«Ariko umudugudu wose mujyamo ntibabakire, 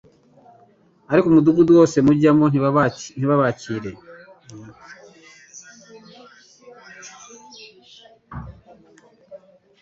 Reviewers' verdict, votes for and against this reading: rejected, 1, 2